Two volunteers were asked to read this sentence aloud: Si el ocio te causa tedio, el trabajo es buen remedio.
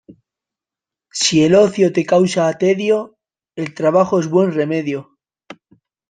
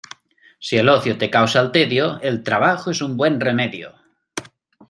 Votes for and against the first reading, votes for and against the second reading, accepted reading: 2, 0, 0, 2, first